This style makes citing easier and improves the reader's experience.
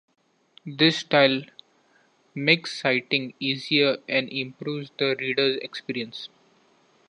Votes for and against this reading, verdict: 2, 1, accepted